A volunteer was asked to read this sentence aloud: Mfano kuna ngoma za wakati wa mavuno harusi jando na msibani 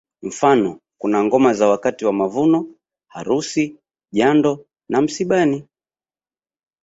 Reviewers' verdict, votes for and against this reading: rejected, 1, 2